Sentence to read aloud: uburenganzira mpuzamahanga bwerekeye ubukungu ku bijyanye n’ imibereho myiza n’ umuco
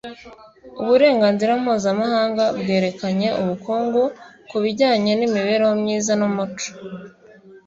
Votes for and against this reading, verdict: 1, 2, rejected